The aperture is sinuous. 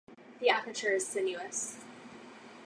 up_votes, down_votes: 4, 0